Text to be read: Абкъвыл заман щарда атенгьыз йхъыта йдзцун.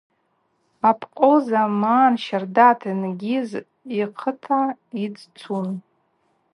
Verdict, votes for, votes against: accepted, 2, 0